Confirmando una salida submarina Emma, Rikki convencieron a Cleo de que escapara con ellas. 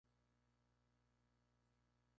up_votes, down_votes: 0, 2